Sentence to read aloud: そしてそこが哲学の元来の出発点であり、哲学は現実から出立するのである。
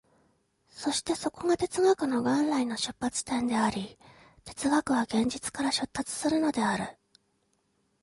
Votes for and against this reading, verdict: 2, 0, accepted